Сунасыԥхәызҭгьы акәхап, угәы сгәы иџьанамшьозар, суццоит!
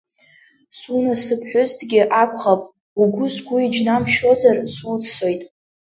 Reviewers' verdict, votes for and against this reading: rejected, 1, 2